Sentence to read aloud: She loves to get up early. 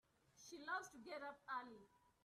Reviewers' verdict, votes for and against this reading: accepted, 2, 0